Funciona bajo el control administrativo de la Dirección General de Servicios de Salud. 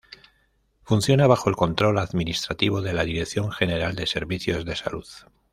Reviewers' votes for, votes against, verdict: 2, 0, accepted